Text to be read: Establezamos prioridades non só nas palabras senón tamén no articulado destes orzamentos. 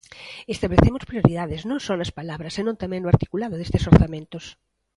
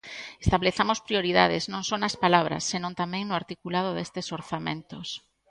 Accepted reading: second